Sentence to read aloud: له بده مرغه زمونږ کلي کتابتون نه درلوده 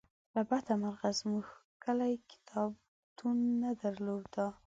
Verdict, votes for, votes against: accepted, 2, 0